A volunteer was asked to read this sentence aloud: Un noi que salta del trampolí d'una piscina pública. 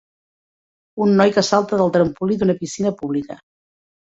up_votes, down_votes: 2, 0